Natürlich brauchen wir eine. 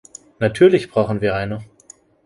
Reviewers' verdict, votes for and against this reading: accepted, 2, 0